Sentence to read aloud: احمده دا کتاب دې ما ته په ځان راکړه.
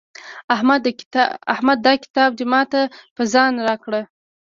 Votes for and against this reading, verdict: 1, 2, rejected